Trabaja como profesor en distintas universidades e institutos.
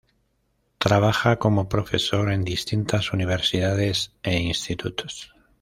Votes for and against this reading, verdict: 2, 0, accepted